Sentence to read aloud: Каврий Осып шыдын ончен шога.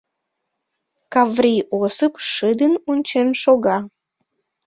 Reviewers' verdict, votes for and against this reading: rejected, 0, 2